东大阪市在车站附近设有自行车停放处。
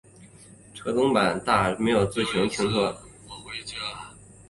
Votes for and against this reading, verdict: 1, 2, rejected